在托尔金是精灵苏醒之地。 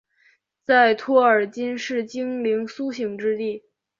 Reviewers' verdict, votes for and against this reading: accepted, 3, 0